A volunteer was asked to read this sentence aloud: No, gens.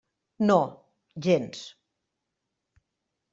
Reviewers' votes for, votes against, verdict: 3, 0, accepted